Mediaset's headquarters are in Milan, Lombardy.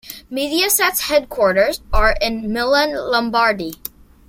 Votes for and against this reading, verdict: 2, 0, accepted